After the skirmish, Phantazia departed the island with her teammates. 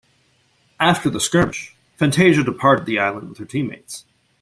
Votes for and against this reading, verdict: 0, 2, rejected